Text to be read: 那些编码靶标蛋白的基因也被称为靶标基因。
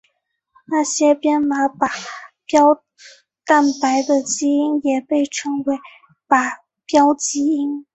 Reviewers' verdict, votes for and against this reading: accepted, 3, 0